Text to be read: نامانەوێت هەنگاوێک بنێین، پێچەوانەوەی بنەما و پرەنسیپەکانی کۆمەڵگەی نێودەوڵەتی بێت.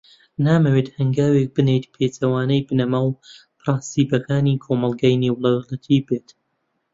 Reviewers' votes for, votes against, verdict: 0, 2, rejected